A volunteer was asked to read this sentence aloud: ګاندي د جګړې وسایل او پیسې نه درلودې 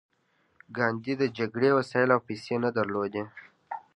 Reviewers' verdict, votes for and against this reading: accepted, 2, 0